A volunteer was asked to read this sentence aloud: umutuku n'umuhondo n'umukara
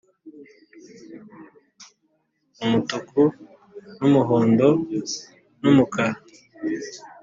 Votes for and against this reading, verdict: 2, 0, accepted